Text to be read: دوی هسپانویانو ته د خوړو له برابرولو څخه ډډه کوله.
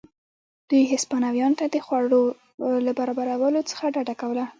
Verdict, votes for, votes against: accepted, 3, 1